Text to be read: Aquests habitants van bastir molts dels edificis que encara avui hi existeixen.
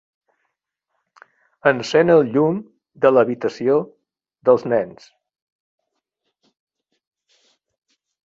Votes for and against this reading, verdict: 0, 2, rejected